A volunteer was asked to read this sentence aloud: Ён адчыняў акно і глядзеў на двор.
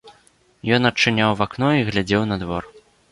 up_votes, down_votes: 0, 2